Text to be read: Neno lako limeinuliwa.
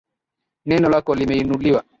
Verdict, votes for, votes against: accepted, 4, 2